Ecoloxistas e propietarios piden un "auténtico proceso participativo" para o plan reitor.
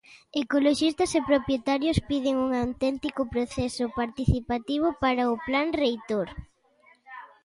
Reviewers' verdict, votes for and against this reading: accepted, 2, 0